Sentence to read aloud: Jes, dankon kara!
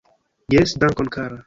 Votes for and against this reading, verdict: 2, 0, accepted